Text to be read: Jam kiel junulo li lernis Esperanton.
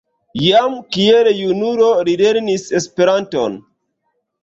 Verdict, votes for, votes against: rejected, 1, 2